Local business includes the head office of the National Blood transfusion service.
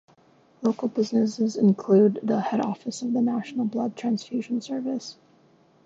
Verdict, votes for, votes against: rejected, 2, 3